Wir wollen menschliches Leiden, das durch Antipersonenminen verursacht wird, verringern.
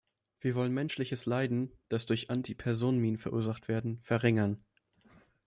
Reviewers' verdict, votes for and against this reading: rejected, 1, 2